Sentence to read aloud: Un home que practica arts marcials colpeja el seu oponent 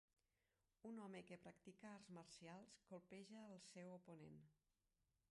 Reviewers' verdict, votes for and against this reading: rejected, 0, 4